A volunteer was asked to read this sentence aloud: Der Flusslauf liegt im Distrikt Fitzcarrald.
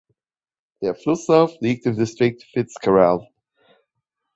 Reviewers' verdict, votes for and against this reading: accepted, 3, 0